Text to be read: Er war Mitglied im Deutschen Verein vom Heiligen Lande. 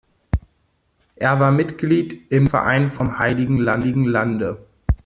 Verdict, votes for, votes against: rejected, 0, 2